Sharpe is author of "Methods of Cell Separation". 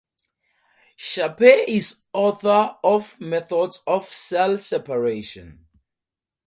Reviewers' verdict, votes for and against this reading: accepted, 2, 0